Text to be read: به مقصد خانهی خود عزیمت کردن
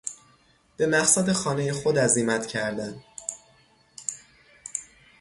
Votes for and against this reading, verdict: 3, 0, accepted